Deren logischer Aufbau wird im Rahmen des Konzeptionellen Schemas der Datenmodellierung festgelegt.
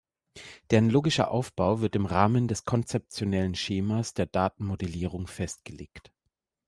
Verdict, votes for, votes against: accepted, 2, 0